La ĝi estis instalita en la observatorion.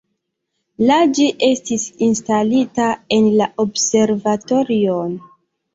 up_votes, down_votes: 1, 2